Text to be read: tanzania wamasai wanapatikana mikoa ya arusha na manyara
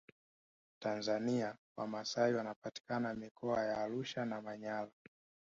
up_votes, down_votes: 0, 2